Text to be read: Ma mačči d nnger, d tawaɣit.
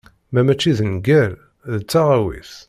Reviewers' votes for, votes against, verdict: 1, 2, rejected